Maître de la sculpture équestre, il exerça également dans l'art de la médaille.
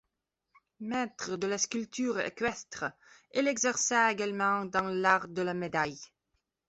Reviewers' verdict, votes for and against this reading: accepted, 2, 0